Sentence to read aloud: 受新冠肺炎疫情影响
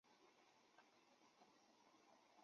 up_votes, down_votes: 0, 3